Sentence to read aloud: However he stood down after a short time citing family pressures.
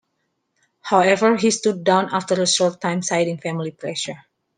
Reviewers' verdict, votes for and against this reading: accepted, 2, 1